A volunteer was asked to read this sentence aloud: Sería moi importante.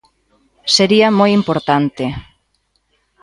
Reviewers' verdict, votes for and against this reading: accepted, 2, 0